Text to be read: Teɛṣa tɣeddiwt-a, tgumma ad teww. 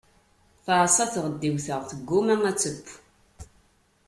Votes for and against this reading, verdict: 2, 0, accepted